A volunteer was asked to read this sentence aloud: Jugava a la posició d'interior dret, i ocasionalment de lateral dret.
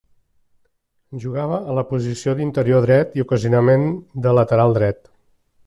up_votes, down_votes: 1, 2